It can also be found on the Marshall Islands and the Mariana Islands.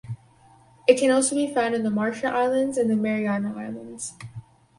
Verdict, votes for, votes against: accepted, 6, 0